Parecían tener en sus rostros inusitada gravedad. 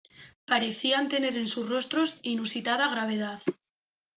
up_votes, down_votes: 2, 0